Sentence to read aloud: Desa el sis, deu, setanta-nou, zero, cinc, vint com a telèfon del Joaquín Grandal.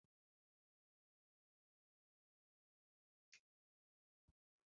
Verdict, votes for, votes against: rejected, 0, 2